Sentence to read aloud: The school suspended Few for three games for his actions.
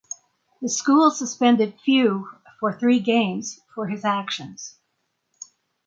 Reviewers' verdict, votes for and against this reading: accepted, 6, 0